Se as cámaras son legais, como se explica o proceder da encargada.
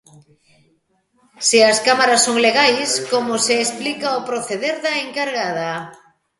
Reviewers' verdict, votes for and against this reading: accepted, 2, 0